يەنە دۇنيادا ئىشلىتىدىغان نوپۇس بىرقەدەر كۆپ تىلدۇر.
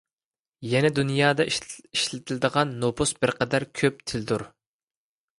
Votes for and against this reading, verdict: 1, 2, rejected